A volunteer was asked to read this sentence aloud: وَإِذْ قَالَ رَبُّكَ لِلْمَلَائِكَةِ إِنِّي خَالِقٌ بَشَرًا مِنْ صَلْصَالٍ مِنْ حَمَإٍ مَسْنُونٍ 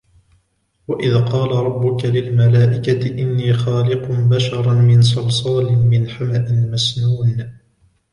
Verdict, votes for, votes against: rejected, 1, 2